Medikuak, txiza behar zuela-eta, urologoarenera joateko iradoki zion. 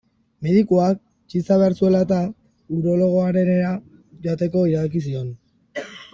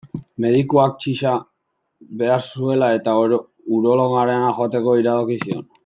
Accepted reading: first